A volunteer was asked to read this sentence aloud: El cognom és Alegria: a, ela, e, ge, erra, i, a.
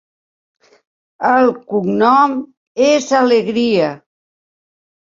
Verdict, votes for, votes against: rejected, 0, 2